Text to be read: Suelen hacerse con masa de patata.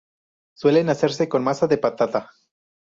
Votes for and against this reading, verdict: 6, 0, accepted